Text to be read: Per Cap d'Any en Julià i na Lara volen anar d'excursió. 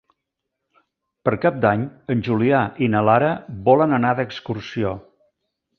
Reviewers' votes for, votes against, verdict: 3, 0, accepted